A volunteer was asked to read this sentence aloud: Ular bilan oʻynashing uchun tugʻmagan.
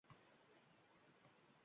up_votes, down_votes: 0, 2